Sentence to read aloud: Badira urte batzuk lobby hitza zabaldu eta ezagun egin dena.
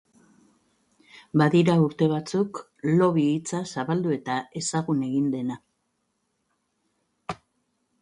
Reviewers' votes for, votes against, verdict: 3, 0, accepted